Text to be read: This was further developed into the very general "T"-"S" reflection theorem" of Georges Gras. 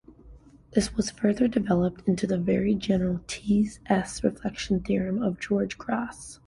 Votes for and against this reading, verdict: 2, 1, accepted